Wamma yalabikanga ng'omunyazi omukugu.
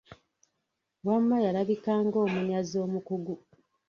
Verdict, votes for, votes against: rejected, 1, 2